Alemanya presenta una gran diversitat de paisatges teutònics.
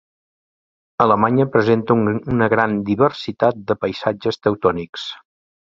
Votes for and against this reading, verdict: 0, 2, rejected